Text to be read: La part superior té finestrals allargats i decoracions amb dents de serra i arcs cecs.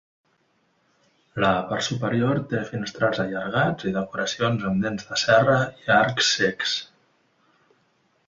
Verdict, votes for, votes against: accepted, 2, 0